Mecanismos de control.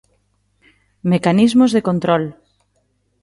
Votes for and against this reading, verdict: 2, 0, accepted